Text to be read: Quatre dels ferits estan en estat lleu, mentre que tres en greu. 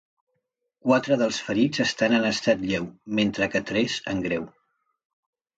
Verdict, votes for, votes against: accepted, 2, 0